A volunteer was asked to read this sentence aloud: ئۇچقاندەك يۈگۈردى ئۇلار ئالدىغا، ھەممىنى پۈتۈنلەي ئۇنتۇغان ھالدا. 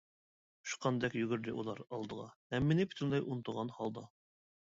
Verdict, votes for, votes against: accepted, 2, 0